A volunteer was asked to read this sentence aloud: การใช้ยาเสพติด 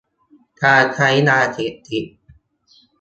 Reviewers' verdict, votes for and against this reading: rejected, 0, 3